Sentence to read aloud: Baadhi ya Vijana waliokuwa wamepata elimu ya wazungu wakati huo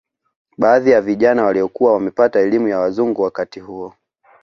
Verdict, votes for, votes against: accepted, 3, 1